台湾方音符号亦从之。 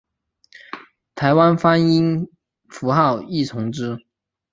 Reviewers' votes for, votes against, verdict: 2, 0, accepted